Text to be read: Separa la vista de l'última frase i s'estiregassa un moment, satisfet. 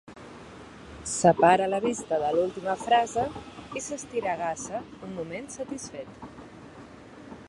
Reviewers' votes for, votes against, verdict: 2, 1, accepted